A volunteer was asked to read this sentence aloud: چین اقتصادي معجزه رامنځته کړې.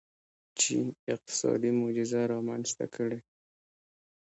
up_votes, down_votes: 2, 1